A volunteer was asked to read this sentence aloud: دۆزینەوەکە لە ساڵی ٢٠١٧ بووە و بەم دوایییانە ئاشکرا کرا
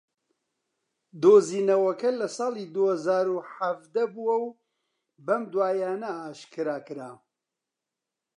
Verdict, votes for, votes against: rejected, 0, 2